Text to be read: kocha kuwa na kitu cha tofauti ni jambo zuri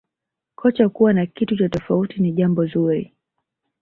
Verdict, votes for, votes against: accepted, 2, 0